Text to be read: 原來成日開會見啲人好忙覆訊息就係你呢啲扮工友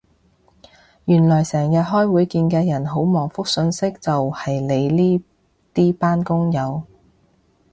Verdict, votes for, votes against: rejected, 0, 2